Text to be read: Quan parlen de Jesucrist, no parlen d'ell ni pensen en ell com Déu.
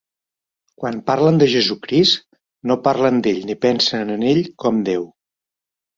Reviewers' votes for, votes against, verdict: 6, 0, accepted